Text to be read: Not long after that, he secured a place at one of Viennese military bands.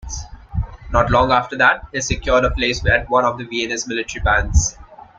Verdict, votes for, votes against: rejected, 1, 2